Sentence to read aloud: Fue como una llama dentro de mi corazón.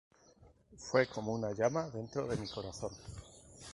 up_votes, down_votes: 2, 0